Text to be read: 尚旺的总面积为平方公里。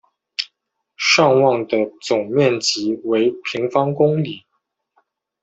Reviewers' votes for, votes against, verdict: 2, 0, accepted